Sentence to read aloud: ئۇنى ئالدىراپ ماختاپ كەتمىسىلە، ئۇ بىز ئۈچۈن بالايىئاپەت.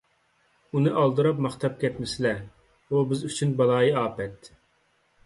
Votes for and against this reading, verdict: 2, 0, accepted